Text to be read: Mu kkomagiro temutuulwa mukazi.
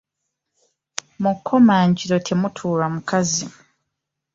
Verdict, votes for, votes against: rejected, 0, 2